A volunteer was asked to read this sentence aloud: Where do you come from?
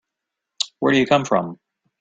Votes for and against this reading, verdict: 2, 0, accepted